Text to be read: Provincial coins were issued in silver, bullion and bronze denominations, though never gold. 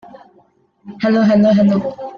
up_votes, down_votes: 0, 2